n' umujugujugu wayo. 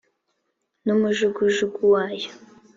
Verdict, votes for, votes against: accepted, 2, 0